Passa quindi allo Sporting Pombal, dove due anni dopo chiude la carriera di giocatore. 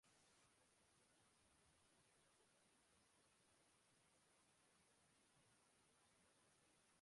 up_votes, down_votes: 0, 2